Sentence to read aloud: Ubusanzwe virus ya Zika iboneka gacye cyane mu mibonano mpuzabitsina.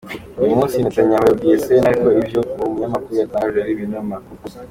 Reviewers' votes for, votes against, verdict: 0, 2, rejected